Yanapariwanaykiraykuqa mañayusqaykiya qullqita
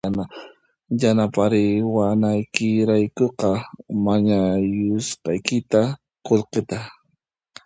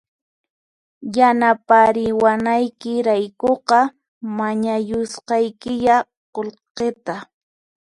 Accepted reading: second